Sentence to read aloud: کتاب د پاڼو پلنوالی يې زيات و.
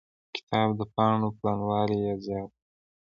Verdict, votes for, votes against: accepted, 2, 0